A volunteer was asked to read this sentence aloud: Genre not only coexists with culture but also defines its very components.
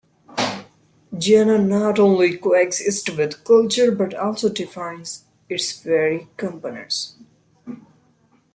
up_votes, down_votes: 1, 2